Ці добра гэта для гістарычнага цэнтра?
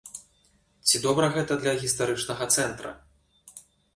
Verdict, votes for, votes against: accepted, 2, 0